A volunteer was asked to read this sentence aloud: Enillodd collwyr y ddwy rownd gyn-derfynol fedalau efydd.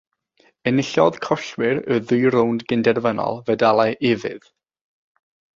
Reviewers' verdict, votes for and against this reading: rejected, 0, 3